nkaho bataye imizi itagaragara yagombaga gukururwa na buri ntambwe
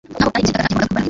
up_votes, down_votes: 0, 2